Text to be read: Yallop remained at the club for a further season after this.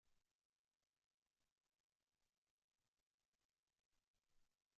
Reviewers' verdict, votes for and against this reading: rejected, 0, 2